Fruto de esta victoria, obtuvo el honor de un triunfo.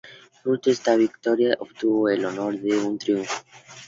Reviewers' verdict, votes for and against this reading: accepted, 2, 0